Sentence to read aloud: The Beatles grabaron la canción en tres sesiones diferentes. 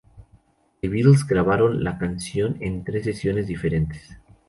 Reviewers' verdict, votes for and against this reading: rejected, 0, 2